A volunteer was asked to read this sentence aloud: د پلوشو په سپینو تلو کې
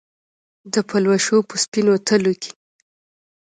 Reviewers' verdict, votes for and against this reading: accepted, 2, 0